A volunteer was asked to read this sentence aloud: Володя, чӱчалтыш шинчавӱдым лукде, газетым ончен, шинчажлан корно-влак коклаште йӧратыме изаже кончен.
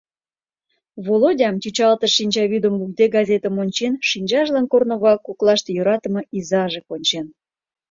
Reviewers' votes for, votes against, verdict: 2, 0, accepted